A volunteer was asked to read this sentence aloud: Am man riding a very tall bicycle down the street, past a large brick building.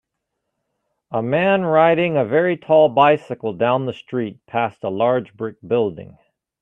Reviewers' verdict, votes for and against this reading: accepted, 2, 1